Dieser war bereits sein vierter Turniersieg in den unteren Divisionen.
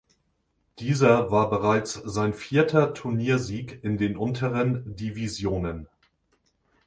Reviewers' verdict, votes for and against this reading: accepted, 3, 0